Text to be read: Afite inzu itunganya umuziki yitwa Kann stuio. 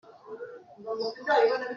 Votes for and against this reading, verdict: 0, 2, rejected